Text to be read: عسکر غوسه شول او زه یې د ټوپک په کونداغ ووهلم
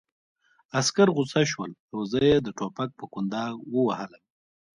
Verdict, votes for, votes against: accepted, 2, 0